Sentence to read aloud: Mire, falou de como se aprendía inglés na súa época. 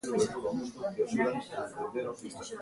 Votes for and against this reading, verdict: 0, 2, rejected